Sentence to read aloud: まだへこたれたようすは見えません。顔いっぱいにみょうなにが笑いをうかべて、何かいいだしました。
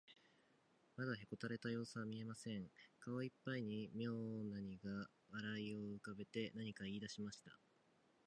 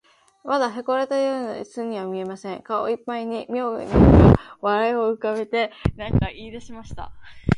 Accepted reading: first